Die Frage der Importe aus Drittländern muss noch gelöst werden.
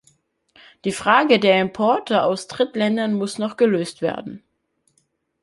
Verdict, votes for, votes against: accepted, 2, 0